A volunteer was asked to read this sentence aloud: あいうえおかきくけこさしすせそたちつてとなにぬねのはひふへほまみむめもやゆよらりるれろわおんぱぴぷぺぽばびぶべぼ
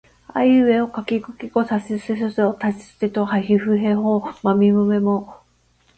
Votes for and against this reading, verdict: 0, 2, rejected